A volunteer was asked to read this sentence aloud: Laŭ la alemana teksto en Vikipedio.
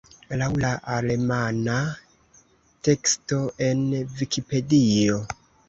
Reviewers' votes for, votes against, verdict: 2, 0, accepted